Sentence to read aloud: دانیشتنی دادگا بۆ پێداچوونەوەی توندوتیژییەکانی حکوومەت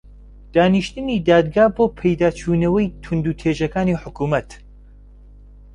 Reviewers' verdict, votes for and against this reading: rejected, 0, 2